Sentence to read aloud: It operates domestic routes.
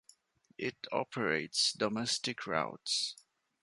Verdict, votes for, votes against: accepted, 2, 0